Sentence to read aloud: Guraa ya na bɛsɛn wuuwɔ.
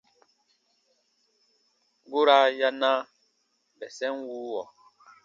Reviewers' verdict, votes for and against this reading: accepted, 2, 0